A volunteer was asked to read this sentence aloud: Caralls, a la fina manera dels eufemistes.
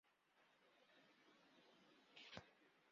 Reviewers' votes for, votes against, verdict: 0, 2, rejected